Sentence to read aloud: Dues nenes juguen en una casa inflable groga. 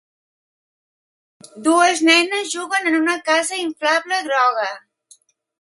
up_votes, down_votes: 3, 0